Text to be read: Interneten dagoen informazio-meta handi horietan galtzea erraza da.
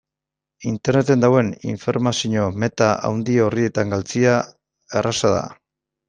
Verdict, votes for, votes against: accepted, 2, 1